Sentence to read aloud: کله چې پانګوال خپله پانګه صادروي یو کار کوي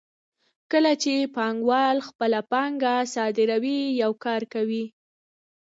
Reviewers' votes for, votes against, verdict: 0, 2, rejected